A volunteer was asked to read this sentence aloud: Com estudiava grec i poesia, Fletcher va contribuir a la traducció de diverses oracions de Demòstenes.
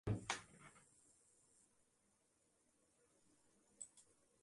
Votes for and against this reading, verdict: 0, 2, rejected